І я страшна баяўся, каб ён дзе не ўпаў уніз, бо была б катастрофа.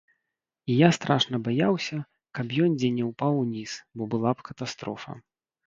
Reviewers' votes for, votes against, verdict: 1, 2, rejected